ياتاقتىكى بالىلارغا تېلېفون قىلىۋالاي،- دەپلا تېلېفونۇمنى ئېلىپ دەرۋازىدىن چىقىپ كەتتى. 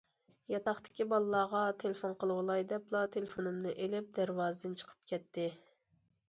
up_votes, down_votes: 2, 0